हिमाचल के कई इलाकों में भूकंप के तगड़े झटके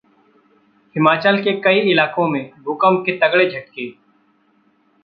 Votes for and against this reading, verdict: 2, 0, accepted